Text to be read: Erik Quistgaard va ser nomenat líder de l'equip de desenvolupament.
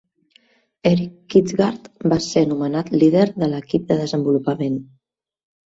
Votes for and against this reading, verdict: 2, 0, accepted